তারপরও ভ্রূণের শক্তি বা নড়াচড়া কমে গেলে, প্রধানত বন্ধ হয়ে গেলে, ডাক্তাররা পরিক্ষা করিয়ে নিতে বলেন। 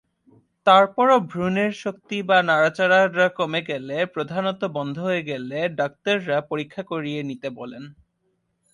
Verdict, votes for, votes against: accepted, 2, 1